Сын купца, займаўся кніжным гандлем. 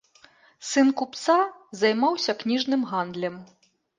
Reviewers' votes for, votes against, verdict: 2, 0, accepted